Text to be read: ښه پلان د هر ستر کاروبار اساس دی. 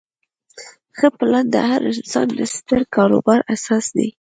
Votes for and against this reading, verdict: 0, 2, rejected